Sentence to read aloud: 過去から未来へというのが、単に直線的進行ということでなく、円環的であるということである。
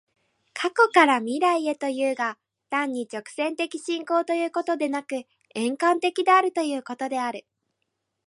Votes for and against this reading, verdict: 2, 3, rejected